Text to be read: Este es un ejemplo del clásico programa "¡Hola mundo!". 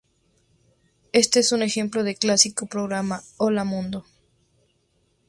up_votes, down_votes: 2, 2